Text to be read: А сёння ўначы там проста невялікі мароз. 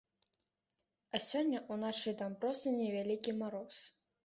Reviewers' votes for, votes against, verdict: 2, 0, accepted